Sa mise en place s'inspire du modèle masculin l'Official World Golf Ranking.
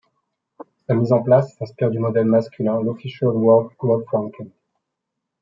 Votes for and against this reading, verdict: 1, 2, rejected